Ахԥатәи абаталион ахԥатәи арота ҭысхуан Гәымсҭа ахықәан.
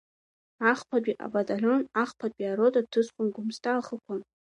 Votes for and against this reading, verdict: 2, 0, accepted